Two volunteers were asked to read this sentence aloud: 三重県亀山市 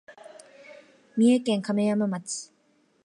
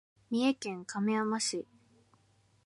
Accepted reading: second